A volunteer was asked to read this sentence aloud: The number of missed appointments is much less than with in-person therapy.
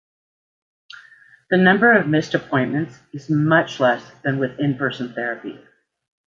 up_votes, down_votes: 2, 0